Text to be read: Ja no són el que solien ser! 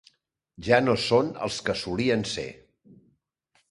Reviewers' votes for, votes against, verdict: 1, 2, rejected